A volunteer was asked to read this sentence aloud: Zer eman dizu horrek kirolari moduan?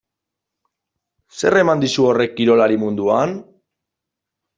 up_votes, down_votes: 0, 2